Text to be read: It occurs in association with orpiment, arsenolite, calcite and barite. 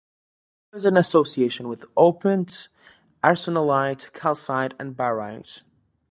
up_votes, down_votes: 1, 2